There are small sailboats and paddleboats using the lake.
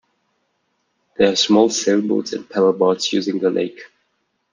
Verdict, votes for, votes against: accepted, 3, 0